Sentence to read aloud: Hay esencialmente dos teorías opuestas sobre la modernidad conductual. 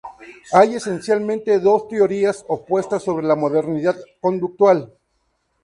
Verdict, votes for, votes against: accepted, 4, 0